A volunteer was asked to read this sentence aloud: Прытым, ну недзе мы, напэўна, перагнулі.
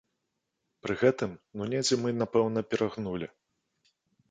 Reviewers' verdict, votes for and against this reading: rejected, 1, 2